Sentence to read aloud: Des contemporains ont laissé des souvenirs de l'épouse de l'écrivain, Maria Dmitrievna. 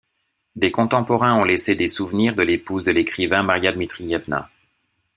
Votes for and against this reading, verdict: 2, 0, accepted